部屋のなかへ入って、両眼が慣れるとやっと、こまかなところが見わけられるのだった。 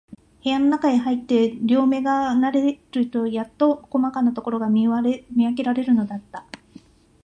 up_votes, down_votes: 0, 3